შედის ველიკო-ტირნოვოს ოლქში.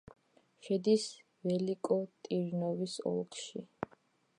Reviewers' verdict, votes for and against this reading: accepted, 2, 1